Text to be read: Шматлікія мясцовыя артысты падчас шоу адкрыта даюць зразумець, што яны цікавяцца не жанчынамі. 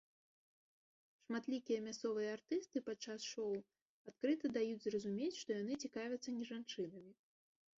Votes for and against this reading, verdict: 1, 2, rejected